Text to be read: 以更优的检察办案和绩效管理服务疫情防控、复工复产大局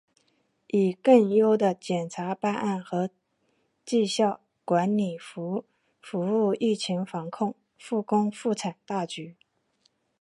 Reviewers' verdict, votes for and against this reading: accepted, 5, 0